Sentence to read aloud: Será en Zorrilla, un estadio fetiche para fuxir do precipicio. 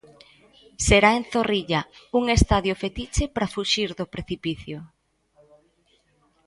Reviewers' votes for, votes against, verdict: 1, 2, rejected